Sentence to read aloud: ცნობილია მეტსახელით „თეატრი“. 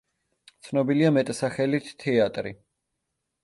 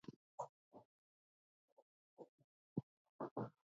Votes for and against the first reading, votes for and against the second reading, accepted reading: 2, 0, 0, 2, first